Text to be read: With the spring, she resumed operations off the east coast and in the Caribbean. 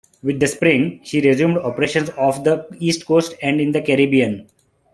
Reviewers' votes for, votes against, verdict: 2, 1, accepted